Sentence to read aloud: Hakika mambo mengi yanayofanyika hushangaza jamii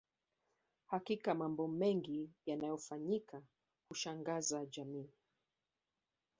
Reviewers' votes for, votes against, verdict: 2, 1, accepted